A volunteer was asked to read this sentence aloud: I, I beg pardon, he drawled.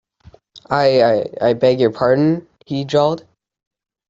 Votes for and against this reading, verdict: 1, 2, rejected